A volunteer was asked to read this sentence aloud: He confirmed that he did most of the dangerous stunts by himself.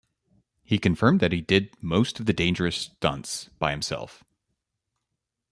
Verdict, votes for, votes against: accepted, 2, 0